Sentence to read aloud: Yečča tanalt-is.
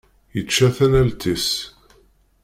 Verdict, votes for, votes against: accepted, 2, 0